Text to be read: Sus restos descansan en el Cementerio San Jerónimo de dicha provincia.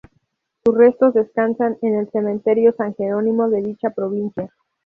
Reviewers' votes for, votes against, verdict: 2, 0, accepted